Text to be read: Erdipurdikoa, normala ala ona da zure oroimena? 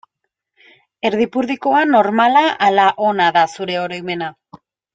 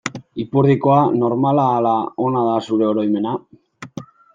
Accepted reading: first